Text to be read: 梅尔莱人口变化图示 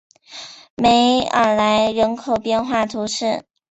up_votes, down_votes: 4, 1